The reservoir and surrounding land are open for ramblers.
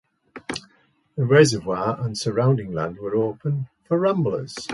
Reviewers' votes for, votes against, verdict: 2, 0, accepted